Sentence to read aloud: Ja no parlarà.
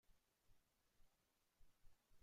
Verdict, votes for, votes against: rejected, 0, 2